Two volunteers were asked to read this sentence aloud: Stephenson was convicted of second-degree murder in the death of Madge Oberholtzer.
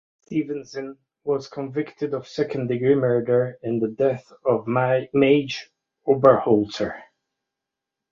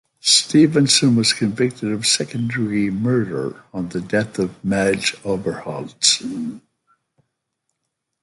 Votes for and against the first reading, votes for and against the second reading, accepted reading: 1, 2, 2, 0, second